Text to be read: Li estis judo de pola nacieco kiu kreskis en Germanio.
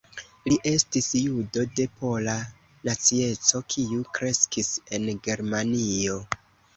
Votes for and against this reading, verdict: 1, 2, rejected